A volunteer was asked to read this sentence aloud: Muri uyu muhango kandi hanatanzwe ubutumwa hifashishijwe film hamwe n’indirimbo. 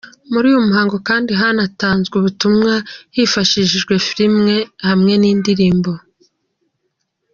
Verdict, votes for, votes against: rejected, 1, 2